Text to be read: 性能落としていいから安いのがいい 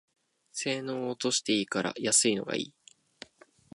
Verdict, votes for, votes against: accepted, 2, 0